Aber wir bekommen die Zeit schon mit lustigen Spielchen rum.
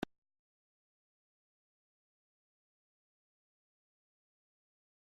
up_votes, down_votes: 0, 2